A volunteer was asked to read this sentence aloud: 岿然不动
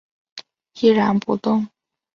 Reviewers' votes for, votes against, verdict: 1, 2, rejected